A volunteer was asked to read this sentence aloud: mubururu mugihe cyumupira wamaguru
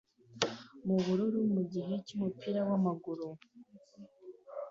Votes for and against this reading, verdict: 2, 0, accepted